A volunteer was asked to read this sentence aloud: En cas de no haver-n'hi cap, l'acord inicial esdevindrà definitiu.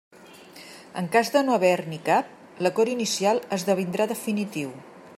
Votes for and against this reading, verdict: 2, 0, accepted